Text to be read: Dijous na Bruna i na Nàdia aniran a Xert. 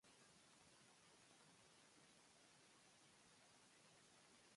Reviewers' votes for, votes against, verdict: 0, 2, rejected